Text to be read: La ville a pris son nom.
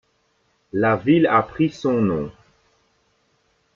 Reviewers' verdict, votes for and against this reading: rejected, 0, 2